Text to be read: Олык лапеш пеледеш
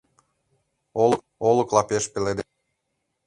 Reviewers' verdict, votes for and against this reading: rejected, 0, 2